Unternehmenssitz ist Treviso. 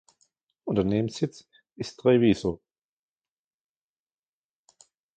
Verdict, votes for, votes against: accepted, 2, 0